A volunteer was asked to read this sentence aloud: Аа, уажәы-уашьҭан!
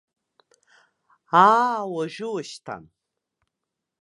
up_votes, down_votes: 1, 2